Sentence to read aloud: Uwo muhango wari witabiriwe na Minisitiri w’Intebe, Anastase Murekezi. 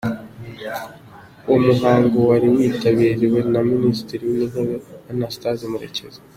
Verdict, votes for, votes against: accepted, 2, 0